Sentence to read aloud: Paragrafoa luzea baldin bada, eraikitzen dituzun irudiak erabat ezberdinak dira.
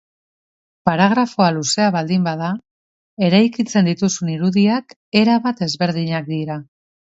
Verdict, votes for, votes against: accepted, 2, 0